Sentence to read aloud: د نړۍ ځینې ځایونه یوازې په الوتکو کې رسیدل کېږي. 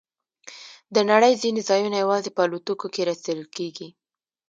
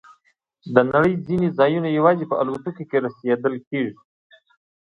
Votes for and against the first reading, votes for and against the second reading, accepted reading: 0, 2, 2, 0, second